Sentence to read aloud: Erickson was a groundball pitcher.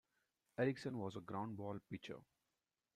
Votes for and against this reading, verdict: 2, 0, accepted